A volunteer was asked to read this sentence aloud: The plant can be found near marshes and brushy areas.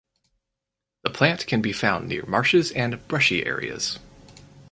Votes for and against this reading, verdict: 4, 2, accepted